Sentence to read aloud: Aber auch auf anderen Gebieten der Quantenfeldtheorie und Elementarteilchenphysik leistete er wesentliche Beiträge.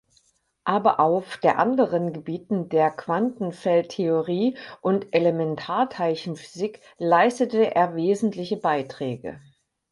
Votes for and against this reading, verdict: 0, 4, rejected